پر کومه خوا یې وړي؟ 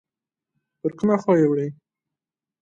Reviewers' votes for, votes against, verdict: 2, 0, accepted